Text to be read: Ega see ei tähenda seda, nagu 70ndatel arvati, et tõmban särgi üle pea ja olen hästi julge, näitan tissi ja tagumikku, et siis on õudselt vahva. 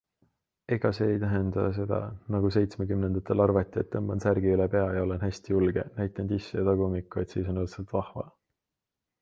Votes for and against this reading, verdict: 0, 2, rejected